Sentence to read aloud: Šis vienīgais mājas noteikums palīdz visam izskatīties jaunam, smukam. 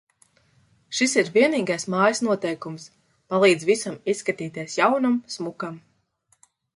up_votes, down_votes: 0, 2